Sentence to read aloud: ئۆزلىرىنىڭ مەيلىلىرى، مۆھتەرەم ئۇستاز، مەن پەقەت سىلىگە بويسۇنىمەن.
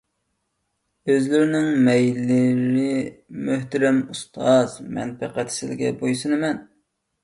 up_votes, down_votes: 0, 2